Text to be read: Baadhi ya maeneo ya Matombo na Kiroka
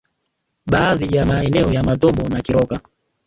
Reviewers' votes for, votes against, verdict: 0, 2, rejected